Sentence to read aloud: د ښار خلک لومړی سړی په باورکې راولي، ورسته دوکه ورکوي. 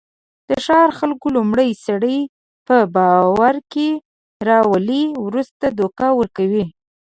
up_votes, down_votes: 2, 0